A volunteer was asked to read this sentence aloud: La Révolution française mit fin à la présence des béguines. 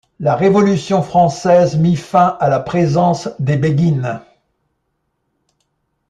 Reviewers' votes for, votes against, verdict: 2, 0, accepted